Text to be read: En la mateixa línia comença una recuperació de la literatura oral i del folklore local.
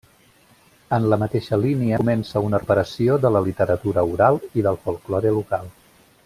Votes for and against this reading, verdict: 0, 2, rejected